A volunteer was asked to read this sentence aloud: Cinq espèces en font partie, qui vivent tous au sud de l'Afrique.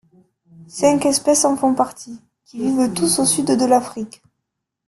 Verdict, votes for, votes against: accepted, 2, 0